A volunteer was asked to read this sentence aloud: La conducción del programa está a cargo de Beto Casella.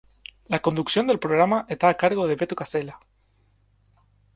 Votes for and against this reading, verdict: 0, 2, rejected